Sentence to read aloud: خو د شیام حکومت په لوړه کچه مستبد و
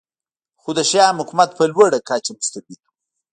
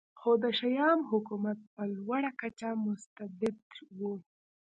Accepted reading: first